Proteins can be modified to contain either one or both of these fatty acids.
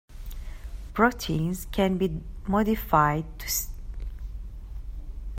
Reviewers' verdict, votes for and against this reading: rejected, 0, 2